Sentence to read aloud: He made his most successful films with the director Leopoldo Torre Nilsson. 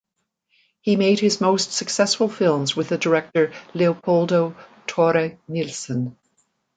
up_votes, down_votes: 2, 0